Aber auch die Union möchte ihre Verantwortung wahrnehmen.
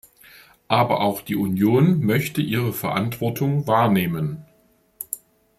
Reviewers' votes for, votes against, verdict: 2, 0, accepted